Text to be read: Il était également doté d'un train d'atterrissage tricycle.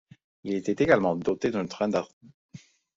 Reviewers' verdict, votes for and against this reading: rejected, 0, 2